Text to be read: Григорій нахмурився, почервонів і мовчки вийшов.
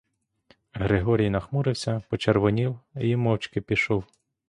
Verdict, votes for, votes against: rejected, 0, 2